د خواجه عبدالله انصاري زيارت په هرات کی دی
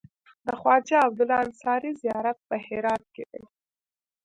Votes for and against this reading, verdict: 1, 2, rejected